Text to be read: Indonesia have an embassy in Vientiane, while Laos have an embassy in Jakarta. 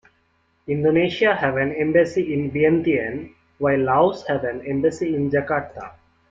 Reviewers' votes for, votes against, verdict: 2, 1, accepted